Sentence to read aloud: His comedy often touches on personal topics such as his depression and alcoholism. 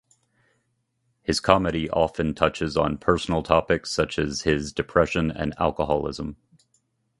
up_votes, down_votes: 2, 0